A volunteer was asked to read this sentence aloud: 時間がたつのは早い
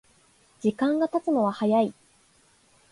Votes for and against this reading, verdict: 2, 1, accepted